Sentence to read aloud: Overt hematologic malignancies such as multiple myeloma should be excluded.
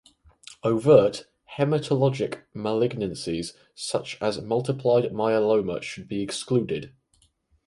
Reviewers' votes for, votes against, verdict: 2, 2, rejected